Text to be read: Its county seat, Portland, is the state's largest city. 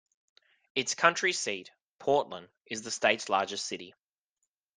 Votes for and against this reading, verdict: 1, 2, rejected